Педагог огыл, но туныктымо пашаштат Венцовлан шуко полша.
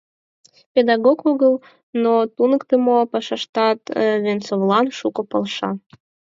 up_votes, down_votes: 4, 0